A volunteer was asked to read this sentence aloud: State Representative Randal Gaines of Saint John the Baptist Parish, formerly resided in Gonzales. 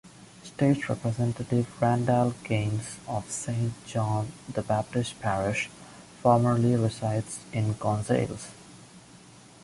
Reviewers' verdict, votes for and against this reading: rejected, 0, 2